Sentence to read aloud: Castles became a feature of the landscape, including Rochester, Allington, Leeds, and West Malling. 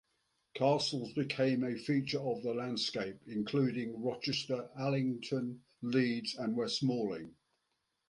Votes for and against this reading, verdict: 2, 0, accepted